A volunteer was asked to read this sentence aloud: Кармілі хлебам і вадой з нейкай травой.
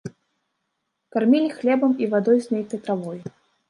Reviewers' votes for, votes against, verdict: 2, 1, accepted